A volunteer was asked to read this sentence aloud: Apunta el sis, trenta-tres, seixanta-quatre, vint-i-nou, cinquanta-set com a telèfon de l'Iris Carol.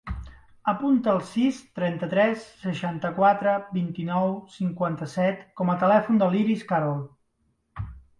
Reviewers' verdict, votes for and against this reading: rejected, 1, 2